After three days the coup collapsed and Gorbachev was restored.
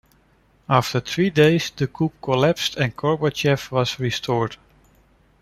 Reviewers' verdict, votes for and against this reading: accepted, 2, 1